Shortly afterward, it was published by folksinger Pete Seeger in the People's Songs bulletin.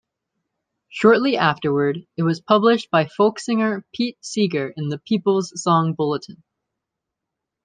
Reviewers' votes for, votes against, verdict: 1, 2, rejected